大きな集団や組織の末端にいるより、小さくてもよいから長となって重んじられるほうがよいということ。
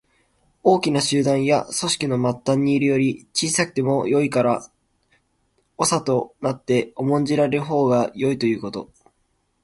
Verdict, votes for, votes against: rejected, 1, 2